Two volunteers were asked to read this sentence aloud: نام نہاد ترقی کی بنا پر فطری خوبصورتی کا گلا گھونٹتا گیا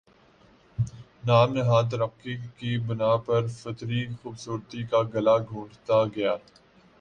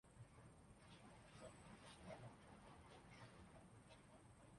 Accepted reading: first